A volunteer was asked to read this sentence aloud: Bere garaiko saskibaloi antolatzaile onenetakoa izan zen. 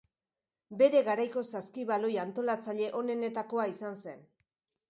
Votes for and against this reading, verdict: 2, 0, accepted